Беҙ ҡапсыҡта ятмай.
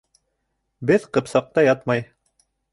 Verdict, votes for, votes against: rejected, 0, 2